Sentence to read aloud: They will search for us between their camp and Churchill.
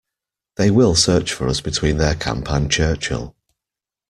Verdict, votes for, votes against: accepted, 2, 0